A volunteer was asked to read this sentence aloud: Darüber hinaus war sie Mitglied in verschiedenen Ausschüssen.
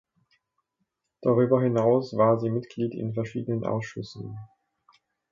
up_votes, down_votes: 3, 0